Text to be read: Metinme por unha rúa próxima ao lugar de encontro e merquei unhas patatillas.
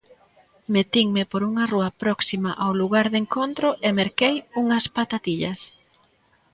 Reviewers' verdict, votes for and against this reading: accepted, 2, 0